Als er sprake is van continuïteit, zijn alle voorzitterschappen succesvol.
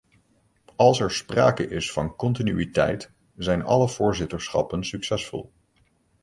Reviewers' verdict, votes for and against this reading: accepted, 2, 0